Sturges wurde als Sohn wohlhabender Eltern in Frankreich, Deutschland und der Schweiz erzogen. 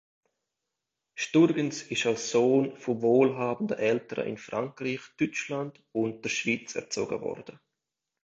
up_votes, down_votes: 0, 2